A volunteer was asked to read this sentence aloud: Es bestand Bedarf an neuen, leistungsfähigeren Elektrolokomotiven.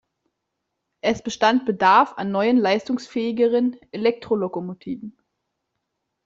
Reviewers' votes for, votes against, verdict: 2, 0, accepted